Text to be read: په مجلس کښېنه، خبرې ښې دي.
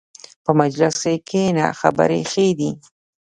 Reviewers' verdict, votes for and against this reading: accepted, 2, 0